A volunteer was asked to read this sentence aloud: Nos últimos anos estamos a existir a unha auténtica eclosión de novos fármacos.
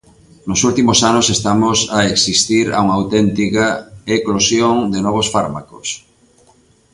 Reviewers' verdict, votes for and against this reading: accepted, 2, 0